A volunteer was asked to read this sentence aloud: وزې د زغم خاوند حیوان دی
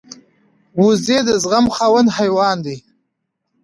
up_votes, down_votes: 2, 0